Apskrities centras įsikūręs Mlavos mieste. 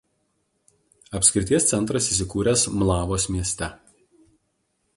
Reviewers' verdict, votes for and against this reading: accepted, 2, 0